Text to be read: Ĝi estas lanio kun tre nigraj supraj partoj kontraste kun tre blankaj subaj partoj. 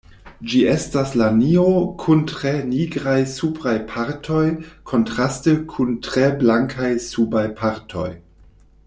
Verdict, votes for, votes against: accepted, 2, 0